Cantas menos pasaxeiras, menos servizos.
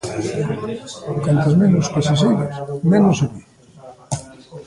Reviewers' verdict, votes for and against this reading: rejected, 1, 2